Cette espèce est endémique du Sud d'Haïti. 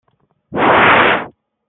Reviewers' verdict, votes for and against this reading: rejected, 0, 2